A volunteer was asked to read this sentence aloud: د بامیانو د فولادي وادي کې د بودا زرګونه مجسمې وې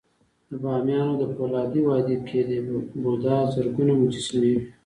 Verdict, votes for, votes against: accepted, 2, 0